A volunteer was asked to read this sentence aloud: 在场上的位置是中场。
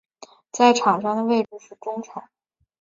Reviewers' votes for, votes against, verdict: 2, 0, accepted